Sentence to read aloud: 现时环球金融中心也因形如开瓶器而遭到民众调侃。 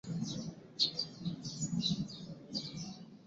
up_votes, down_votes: 1, 2